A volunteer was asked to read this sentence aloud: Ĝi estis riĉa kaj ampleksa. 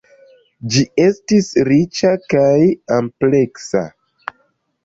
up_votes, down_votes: 2, 0